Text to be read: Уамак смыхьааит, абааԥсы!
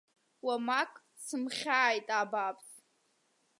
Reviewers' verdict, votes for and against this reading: rejected, 1, 2